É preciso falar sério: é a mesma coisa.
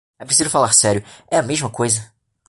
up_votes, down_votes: 2, 0